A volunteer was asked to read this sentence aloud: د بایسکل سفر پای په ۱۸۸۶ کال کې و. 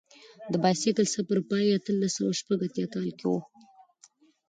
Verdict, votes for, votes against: rejected, 0, 2